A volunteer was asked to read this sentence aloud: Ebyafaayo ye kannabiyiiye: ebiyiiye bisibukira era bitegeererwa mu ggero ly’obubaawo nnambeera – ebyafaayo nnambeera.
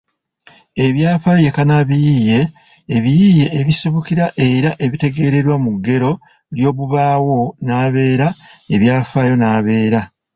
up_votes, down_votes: 0, 2